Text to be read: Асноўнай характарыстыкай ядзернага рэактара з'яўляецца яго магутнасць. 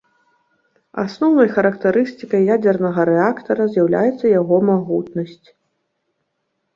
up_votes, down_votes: 1, 2